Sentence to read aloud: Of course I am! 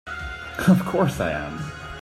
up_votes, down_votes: 2, 0